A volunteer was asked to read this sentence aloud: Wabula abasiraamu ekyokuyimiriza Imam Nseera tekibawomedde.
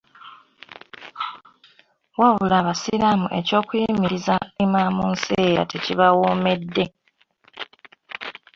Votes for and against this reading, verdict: 3, 0, accepted